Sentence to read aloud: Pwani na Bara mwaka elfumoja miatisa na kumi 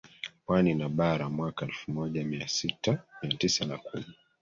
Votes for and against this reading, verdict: 1, 2, rejected